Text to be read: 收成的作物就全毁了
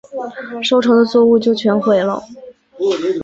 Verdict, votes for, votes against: accepted, 7, 0